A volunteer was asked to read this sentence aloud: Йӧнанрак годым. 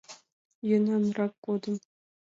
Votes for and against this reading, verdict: 2, 0, accepted